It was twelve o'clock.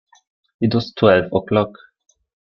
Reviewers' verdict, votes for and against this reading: accepted, 2, 0